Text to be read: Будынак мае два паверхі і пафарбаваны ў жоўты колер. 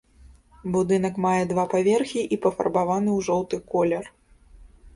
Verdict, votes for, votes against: accepted, 2, 0